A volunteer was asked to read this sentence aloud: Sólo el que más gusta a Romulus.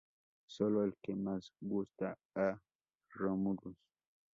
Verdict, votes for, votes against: rejected, 0, 2